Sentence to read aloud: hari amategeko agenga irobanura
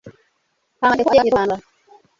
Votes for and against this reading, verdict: 1, 2, rejected